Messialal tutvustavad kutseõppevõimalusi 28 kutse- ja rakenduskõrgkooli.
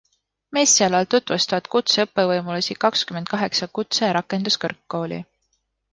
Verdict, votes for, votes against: rejected, 0, 2